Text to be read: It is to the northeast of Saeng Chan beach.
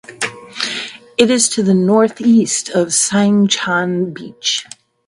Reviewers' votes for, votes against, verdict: 2, 0, accepted